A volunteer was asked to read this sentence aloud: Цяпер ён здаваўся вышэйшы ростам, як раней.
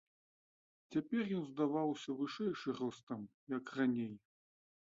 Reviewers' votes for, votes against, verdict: 2, 1, accepted